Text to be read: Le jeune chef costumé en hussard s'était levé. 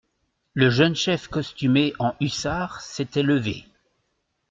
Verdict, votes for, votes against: accepted, 2, 0